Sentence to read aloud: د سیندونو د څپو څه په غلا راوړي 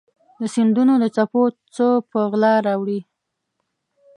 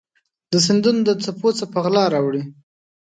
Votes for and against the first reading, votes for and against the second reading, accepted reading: 0, 2, 2, 0, second